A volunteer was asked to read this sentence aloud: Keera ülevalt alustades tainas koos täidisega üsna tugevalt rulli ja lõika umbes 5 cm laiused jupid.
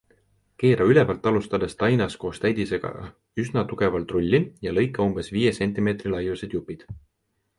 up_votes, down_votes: 0, 2